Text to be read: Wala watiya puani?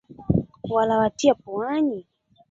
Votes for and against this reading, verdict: 2, 3, rejected